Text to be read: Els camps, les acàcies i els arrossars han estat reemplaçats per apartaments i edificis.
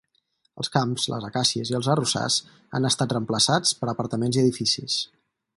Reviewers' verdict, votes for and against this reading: accepted, 4, 0